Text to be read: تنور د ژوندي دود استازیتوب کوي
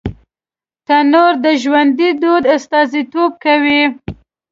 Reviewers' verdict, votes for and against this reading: accepted, 2, 0